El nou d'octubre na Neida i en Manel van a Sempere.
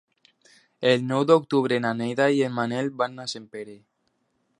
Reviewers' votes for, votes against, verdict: 2, 0, accepted